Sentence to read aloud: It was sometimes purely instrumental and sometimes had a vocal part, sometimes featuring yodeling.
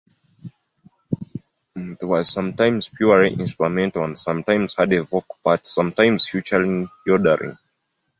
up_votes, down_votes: 1, 2